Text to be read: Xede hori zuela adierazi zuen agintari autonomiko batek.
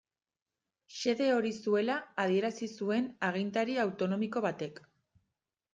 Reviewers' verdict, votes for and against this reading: accepted, 2, 0